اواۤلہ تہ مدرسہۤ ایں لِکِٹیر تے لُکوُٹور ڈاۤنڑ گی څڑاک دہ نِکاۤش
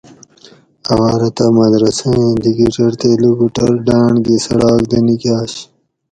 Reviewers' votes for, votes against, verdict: 4, 0, accepted